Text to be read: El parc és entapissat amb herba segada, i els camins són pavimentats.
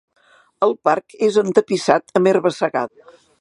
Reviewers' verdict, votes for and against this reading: rejected, 1, 2